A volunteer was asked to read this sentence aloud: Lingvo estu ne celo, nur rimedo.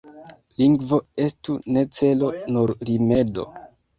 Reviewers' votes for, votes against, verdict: 0, 2, rejected